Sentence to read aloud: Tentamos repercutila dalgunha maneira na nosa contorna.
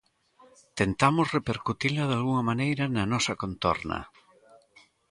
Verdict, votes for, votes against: rejected, 0, 2